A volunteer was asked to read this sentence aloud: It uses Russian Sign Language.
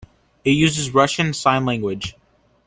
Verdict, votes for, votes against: accepted, 2, 0